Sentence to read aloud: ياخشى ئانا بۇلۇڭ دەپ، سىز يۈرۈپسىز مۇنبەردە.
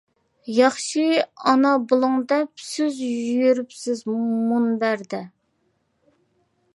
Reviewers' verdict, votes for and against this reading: accepted, 2, 0